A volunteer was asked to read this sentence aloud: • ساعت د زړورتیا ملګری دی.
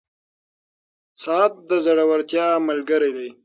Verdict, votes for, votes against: accepted, 6, 0